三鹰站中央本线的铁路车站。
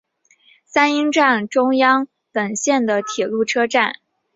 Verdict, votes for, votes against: accepted, 2, 0